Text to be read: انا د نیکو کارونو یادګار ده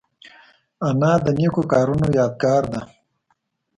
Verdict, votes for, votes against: accepted, 2, 0